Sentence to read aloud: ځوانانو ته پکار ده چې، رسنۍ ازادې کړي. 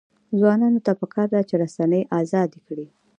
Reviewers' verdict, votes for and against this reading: accepted, 2, 0